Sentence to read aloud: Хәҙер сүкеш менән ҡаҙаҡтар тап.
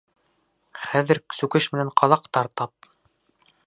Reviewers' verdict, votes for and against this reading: accepted, 2, 0